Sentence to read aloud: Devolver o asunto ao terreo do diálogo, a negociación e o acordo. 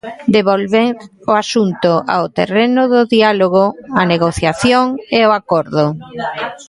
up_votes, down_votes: 0, 2